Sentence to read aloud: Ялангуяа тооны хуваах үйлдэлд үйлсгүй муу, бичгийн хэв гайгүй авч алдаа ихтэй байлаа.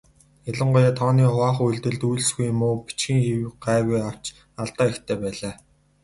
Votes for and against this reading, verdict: 4, 0, accepted